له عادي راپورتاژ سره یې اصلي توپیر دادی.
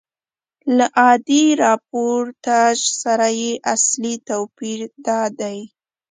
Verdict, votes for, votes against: accepted, 2, 0